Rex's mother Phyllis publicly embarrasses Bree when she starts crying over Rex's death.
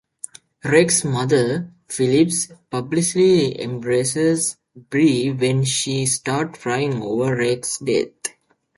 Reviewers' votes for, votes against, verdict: 0, 2, rejected